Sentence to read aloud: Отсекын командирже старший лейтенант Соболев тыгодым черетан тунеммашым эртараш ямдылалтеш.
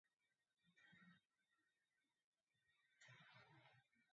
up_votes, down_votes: 1, 2